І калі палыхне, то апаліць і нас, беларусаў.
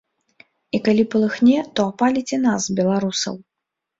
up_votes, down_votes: 3, 0